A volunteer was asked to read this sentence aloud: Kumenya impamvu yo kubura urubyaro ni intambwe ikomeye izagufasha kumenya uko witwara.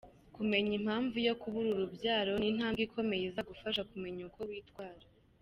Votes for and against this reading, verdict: 2, 0, accepted